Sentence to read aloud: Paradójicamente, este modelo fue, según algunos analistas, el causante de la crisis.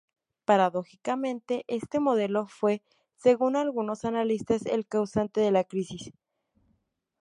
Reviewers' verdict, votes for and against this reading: rejected, 2, 2